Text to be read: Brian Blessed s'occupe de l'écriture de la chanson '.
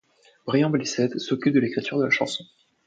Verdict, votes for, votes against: accepted, 2, 0